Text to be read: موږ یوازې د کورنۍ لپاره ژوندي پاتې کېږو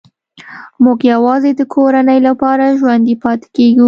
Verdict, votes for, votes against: accepted, 2, 0